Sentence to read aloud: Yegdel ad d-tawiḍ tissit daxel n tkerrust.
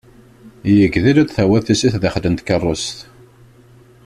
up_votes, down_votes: 2, 0